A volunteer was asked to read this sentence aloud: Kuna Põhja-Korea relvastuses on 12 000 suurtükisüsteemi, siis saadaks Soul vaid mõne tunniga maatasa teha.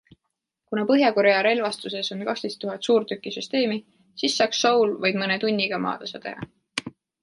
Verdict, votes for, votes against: rejected, 0, 2